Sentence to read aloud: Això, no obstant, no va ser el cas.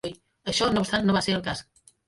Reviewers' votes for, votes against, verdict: 2, 3, rejected